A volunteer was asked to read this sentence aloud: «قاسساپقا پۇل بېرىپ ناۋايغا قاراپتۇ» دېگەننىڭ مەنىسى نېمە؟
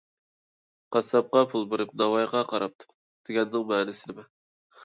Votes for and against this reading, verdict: 1, 2, rejected